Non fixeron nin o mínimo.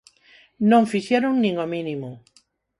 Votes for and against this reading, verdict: 4, 0, accepted